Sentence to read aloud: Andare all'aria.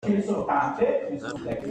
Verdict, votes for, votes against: rejected, 0, 2